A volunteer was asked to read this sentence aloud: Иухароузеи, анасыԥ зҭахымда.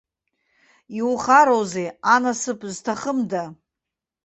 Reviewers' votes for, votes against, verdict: 2, 0, accepted